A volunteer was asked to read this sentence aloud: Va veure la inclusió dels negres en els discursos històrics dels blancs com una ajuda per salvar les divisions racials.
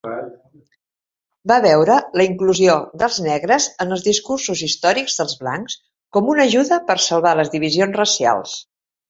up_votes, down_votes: 0, 2